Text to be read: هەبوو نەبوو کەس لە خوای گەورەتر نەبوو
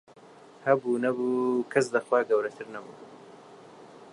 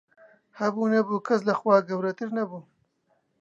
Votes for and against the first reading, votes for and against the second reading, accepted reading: 2, 1, 2, 4, first